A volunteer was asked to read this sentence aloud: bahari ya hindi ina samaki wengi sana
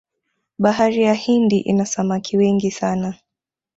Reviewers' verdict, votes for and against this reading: rejected, 0, 2